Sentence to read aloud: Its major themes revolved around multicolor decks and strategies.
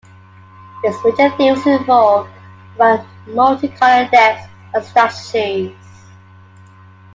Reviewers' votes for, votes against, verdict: 0, 2, rejected